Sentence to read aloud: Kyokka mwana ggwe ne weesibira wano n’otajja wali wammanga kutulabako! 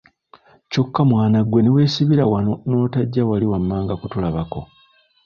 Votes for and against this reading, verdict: 0, 2, rejected